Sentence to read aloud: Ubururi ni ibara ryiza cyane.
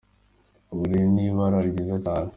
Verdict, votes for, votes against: accepted, 2, 1